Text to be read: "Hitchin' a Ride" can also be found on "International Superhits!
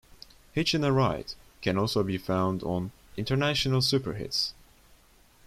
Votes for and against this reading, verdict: 2, 0, accepted